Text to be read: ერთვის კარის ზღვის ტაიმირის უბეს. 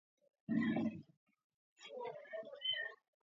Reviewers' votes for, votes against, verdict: 0, 2, rejected